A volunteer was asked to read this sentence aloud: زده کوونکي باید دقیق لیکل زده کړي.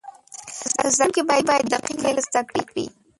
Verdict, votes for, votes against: rejected, 0, 2